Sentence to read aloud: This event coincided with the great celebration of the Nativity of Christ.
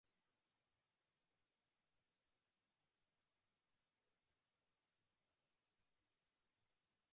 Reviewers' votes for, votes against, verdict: 0, 2, rejected